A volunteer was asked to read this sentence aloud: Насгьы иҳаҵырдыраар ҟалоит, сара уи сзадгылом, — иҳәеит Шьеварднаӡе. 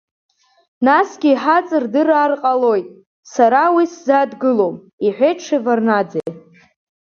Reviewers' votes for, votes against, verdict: 4, 0, accepted